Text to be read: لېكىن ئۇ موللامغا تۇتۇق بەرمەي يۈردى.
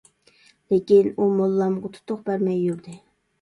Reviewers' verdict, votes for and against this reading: accepted, 2, 0